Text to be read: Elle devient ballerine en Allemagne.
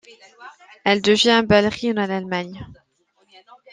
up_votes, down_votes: 2, 0